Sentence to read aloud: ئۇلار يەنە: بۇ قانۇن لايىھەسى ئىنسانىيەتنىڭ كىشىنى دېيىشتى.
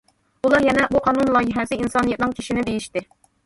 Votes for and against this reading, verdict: 2, 1, accepted